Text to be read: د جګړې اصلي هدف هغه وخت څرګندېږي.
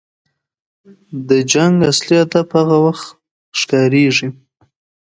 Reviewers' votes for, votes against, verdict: 0, 2, rejected